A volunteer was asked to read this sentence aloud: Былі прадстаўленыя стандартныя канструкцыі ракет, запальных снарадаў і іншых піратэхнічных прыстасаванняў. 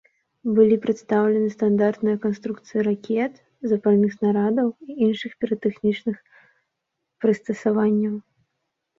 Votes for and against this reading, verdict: 2, 3, rejected